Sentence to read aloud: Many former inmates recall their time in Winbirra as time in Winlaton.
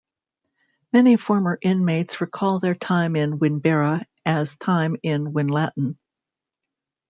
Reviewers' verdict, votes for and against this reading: accepted, 2, 0